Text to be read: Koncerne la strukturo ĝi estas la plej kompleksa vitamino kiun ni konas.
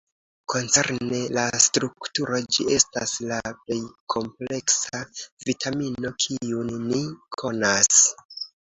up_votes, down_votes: 2, 0